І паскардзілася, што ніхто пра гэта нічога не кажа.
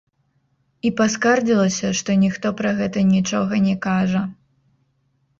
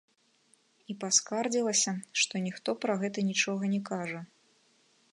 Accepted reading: second